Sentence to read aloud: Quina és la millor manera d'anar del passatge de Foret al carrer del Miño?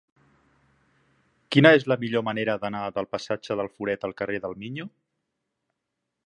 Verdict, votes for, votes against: rejected, 0, 2